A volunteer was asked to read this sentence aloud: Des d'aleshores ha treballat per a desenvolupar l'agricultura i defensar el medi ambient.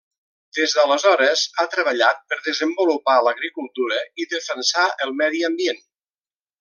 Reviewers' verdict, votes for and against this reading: rejected, 0, 2